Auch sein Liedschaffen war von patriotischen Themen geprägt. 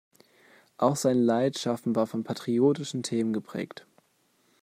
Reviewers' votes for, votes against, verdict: 0, 2, rejected